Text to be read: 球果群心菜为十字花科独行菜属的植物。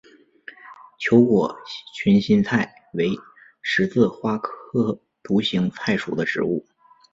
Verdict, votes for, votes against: accepted, 2, 0